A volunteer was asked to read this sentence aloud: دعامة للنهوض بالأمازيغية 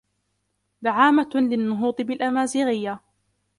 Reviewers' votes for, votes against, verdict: 2, 1, accepted